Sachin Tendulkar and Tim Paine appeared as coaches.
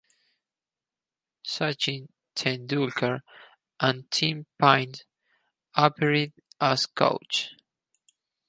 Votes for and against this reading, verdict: 2, 2, rejected